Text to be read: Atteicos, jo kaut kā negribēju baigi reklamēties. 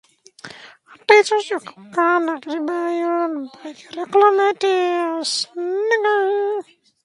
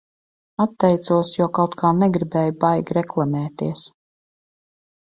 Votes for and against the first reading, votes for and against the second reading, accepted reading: 0, 2, 4, 0, second